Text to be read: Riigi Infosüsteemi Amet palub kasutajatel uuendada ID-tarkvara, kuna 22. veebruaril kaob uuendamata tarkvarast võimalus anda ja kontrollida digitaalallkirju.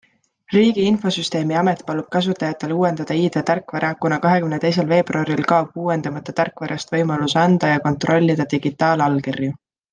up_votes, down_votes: 0, 2